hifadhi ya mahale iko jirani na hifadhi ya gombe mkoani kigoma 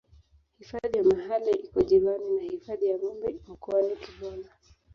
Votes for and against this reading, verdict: 0, 3, rejected